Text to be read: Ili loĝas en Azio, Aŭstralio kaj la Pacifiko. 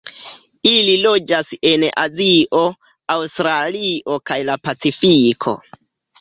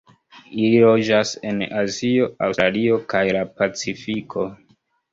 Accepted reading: first